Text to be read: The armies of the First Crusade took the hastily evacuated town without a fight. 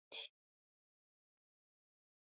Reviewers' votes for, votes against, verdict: 0, 2, rejected